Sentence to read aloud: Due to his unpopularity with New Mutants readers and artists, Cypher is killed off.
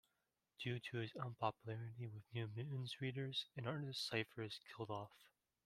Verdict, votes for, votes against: rejected, 0, 2